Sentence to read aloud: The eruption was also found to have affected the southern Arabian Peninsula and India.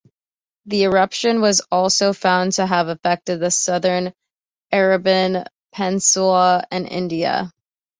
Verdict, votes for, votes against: accepted, 2, 0